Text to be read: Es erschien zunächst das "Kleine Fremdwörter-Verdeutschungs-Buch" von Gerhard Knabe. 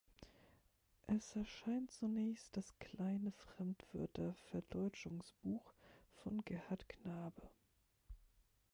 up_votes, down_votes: 0, 2